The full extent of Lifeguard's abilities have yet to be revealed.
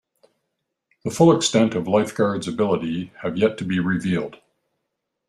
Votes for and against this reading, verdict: 2, 0, accepted